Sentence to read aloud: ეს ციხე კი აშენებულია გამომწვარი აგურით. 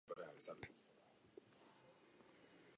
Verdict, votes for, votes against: rejected, 0, 2